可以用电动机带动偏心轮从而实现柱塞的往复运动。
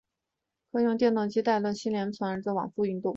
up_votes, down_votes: 1, 5